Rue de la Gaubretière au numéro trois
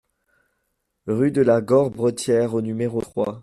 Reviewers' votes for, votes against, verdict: 1, 2, rejected